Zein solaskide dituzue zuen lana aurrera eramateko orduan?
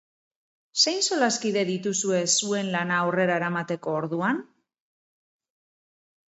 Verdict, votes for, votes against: rejected, 2, 2